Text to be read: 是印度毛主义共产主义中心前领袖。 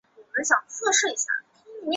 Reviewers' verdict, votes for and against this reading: accepted, 4, 2